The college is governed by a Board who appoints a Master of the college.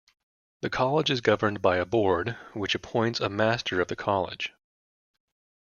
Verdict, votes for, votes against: rejected, 1, 2